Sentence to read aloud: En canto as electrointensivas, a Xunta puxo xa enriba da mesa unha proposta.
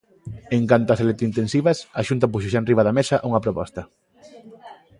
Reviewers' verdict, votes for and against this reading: accepted, 2, 1